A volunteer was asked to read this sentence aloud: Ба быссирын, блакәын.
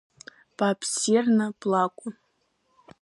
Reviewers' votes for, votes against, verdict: 1, 2, rejected